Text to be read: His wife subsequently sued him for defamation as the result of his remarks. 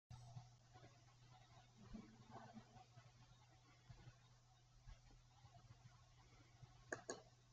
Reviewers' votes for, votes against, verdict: 0, 2, rejected